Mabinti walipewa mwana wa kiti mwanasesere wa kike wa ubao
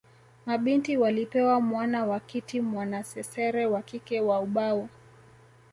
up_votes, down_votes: 2, 0